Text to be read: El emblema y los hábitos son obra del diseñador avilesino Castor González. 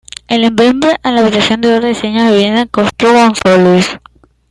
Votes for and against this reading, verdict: 0, 2, rejected